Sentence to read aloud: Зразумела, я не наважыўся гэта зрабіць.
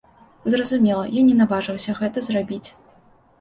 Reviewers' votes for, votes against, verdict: 2, 0, accepted